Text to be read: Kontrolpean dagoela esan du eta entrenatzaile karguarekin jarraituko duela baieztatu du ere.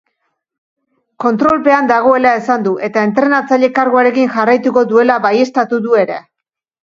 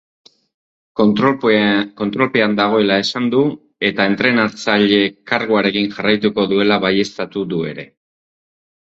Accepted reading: first